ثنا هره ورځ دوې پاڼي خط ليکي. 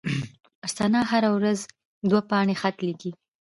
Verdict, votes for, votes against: rejected, 0, 2